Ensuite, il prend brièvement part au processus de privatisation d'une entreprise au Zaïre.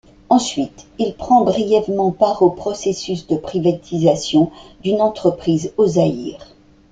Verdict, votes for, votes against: accepted, 2, 0